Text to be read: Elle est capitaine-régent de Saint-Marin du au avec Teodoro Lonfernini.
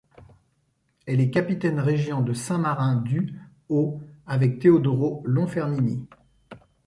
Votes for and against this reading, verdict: 0, 2, rejected